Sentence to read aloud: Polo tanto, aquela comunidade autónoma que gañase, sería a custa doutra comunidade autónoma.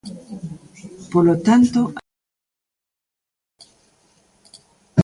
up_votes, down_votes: 0, 2